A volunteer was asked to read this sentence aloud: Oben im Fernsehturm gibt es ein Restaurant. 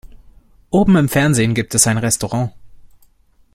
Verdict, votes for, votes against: rejected, 0, 2